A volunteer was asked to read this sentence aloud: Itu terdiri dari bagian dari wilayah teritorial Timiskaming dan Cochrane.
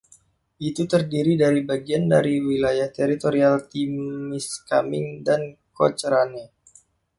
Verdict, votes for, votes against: rejected, 1, 2